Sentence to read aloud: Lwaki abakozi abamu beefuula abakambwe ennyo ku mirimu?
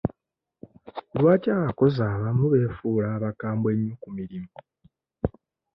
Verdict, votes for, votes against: accepted, 2, 0